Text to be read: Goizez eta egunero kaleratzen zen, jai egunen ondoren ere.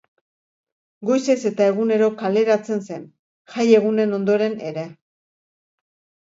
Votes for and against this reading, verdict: 2, 0, accepted